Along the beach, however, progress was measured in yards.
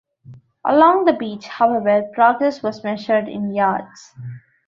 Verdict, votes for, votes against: accepted, 3, 0